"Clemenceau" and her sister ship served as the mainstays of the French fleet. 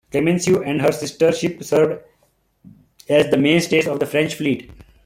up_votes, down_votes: 2, 1